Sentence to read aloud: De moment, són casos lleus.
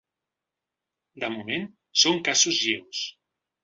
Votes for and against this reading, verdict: 2, 0, accepted